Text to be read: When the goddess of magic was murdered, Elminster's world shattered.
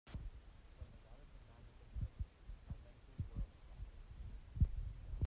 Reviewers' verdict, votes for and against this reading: rejected, 0, 2